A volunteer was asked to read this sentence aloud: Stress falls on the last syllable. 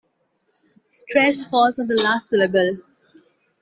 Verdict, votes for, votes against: accepted, 2, 0